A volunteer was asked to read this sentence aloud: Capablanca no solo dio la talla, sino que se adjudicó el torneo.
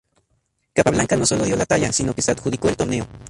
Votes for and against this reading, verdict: 2, 0, accepted